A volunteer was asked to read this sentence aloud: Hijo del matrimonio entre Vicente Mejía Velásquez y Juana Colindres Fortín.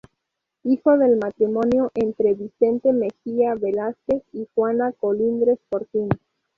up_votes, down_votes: 4, 0